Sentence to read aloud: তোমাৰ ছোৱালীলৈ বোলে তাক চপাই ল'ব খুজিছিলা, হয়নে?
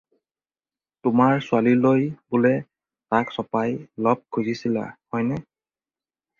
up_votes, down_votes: 2, 4